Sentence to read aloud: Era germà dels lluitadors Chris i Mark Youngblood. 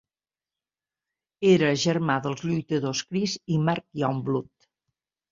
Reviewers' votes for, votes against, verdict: 2, 0, accepted